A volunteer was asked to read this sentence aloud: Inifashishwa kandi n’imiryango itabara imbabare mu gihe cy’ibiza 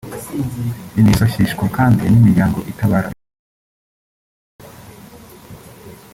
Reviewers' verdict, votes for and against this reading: rejected, 0, 2